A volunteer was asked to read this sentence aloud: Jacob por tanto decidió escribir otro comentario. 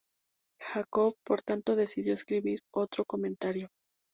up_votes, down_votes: 2, 0